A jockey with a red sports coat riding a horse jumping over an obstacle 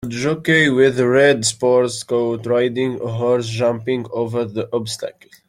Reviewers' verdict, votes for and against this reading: rejected, 1, 2